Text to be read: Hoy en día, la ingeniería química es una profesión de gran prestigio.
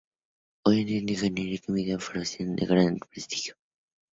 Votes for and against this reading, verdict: 0, 2, rejected